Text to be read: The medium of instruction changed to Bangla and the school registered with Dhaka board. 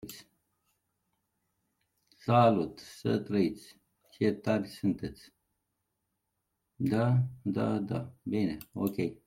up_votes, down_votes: 0, 2